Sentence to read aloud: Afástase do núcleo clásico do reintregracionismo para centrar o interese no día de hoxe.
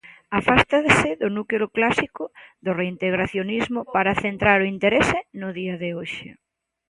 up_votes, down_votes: 1, 2